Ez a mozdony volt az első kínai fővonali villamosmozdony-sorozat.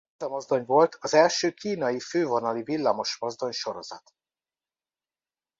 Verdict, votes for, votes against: rejected, 1, 2